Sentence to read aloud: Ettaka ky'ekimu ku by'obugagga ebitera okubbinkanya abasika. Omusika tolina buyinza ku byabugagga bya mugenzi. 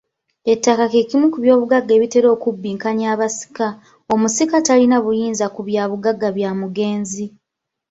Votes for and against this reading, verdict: 2, 0, accepted